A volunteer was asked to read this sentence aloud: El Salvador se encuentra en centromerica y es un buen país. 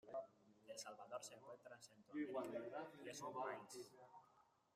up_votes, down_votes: 0, 2